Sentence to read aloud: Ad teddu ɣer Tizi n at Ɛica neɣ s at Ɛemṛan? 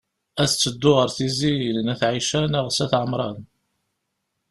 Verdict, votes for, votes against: accepted, 2, 0